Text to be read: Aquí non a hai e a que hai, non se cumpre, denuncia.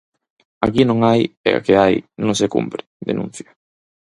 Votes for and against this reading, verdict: 4, 0, accepted